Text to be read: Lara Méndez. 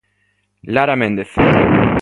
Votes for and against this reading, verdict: 2, 1, accepted